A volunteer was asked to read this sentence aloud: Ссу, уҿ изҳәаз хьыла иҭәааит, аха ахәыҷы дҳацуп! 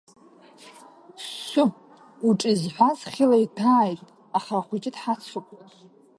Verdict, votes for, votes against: accepted, 2, 0